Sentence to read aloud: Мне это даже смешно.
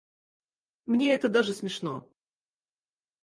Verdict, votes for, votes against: rejected, 2, 4